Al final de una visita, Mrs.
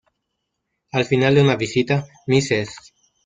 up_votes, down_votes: 1, 2